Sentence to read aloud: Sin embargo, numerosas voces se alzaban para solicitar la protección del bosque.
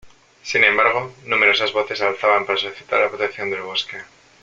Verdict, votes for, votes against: rejected, 1, 2